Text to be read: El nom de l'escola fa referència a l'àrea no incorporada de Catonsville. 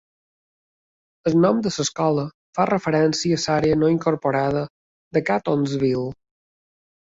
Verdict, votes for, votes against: rejected, 0, 3